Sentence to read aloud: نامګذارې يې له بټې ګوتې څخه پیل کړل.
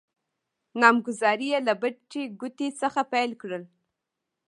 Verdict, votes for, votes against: rejected, 1, 2